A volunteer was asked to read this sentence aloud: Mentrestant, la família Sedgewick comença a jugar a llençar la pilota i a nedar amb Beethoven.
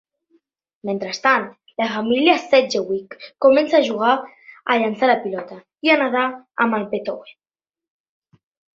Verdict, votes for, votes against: rejected, 1, 2